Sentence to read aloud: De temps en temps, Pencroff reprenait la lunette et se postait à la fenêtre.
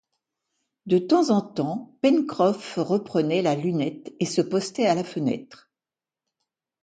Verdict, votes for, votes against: accepted, 2, 0